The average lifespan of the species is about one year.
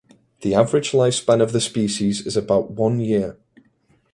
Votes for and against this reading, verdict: 2, 0, accepted